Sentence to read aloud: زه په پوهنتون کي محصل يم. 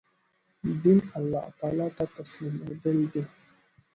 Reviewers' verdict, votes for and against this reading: rejected, 1, 2